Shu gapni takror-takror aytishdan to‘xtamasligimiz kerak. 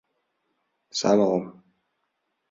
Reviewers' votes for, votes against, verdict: 0, 2, rejected